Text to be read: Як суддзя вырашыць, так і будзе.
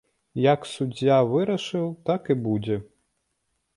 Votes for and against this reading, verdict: 1, 2, rejected